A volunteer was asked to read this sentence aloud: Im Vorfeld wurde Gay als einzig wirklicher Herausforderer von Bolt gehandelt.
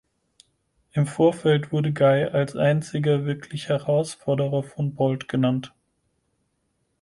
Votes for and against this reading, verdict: 2, 4, rejected